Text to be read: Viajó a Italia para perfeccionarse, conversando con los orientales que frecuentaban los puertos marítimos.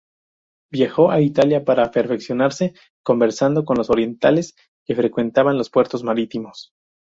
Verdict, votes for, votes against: accepted, 2, 0